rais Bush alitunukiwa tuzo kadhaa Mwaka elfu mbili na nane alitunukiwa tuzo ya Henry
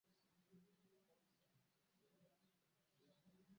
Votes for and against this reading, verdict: 0, 2, rejected